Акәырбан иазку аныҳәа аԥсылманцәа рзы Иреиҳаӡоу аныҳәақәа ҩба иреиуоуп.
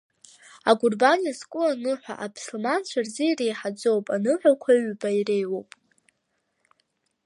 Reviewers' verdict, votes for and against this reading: rejected, 1, 2